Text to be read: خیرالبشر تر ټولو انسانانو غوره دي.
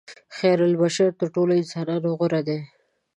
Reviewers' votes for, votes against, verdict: 1, 2, rejected